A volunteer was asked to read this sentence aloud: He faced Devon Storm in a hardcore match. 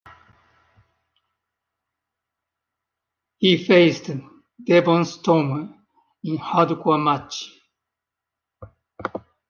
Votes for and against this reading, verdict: 0, 2, rejected